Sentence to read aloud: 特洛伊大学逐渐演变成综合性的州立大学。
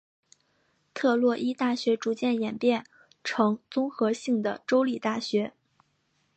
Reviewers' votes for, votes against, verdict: 3, 1, accepted